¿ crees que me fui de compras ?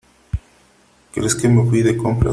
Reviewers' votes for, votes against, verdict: 3, 0, accepted